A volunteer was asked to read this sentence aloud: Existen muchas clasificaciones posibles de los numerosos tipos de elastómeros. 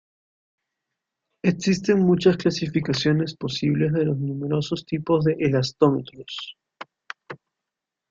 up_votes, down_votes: 2, 0